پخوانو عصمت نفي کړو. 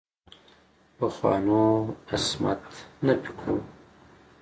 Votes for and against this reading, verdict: 2, 0, accepted